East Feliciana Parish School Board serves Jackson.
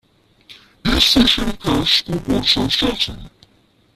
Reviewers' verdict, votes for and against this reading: rejected, 0, 2